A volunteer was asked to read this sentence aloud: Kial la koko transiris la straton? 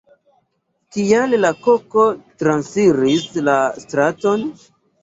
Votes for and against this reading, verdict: 2, 1, accepted